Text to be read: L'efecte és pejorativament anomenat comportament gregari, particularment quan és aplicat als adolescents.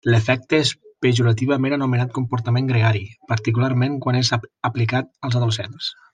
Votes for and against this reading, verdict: 0, 2, rejected